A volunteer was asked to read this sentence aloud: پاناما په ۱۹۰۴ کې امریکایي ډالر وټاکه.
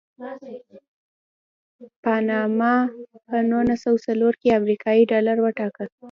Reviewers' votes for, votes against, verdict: 0, 2, rejected